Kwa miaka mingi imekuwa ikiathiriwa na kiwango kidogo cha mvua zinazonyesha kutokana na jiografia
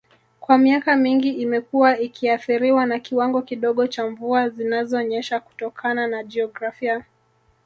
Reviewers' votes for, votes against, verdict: 0, 2, rejected